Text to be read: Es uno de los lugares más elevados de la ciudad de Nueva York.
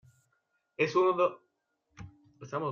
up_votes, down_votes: 0, 2